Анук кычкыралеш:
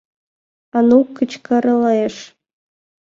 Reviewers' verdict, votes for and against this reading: rejected, 2, 3